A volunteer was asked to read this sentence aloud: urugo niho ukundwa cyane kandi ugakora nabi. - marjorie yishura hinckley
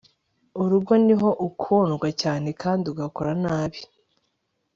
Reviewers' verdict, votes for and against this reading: rejected, 1, 2